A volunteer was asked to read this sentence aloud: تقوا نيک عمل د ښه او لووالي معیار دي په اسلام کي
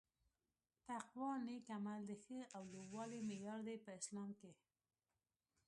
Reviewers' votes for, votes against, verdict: 0, 2, rejected